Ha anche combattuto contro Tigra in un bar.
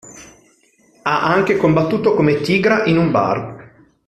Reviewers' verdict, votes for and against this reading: rejected, 0, 3